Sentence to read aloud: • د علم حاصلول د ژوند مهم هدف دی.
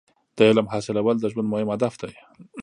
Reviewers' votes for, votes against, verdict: 3, 0, accepted